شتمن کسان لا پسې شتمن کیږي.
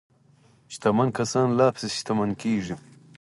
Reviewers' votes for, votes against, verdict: 2, 4, rejected